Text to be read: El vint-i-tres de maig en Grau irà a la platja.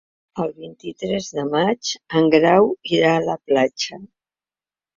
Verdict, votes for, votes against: accepted, 3, 0